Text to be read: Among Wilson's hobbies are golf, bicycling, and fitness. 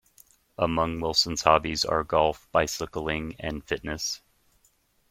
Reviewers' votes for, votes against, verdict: 2, 0, accepted